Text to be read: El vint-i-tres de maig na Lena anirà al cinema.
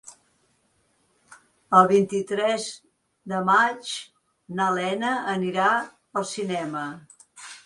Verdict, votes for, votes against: accepted, 2, 0